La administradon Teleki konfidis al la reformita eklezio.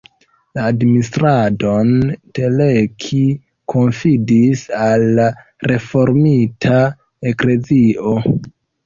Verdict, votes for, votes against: rejected, 1, 2